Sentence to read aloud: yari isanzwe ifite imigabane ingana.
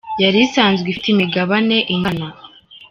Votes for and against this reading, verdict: 2, 0, accepted